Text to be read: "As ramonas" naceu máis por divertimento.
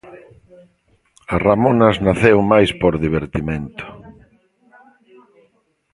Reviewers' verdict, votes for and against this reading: rejected, 1, 2